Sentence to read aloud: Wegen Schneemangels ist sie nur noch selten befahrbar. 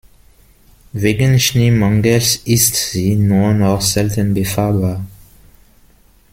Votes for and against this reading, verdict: 0, 2, rejected